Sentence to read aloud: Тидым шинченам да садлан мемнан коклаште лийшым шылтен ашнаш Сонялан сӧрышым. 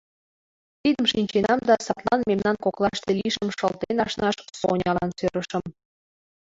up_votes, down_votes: 3, 2